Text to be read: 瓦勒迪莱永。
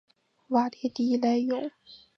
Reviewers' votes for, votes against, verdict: 2, 1, accepted